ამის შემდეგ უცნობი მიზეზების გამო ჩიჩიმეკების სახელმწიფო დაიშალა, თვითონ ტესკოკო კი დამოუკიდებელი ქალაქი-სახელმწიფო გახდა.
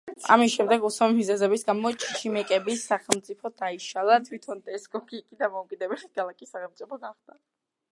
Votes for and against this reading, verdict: 0, 2, rejected